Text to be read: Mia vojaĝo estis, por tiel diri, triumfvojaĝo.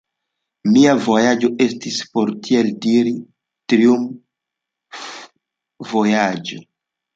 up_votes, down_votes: 2, 1